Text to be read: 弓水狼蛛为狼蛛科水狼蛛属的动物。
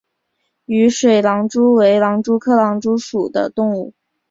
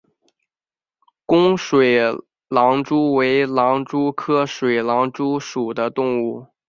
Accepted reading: second